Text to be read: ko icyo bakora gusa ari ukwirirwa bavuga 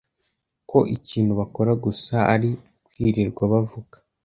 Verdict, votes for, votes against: rejected, 0, 2